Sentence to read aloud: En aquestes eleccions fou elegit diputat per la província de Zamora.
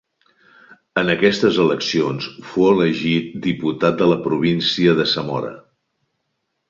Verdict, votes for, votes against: rejected, 1, 2